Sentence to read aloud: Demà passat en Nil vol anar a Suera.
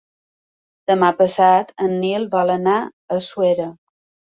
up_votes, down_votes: 3, 0